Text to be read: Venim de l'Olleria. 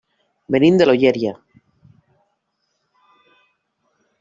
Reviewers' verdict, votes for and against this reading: rejected, 1, 2